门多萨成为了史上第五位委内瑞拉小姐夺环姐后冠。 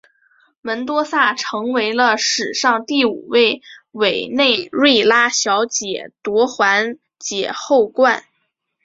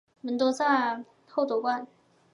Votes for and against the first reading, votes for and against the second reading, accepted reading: 2, 0, 0, 4, first